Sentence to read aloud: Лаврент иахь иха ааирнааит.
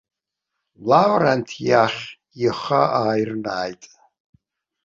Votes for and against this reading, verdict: 0, 2, rejected